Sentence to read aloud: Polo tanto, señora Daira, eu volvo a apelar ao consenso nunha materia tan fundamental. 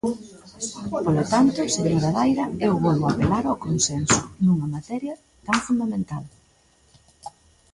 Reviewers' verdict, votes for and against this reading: accepted, 2, 1